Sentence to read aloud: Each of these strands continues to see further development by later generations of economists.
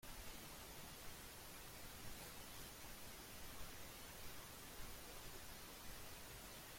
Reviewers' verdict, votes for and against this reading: rejected, 0, 2